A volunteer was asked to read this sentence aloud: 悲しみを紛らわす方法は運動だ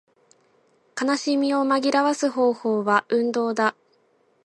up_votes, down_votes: 2, 0